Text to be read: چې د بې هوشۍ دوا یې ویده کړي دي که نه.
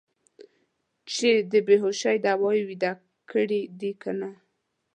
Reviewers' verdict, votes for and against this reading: rejected, 1, 2